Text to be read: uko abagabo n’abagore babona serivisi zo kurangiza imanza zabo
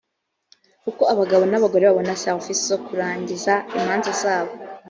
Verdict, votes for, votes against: accepted, 3, 0